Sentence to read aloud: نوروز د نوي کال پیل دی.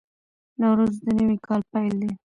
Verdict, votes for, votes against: rejected, 0, 2